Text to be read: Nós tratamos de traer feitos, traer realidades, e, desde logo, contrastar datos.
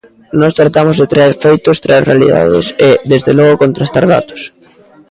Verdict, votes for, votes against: rejected, 1, 2